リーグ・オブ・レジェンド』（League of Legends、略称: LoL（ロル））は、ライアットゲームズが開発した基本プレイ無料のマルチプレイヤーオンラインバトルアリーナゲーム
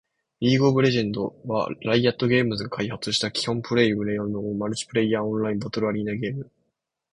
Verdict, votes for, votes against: accepted, 2, 0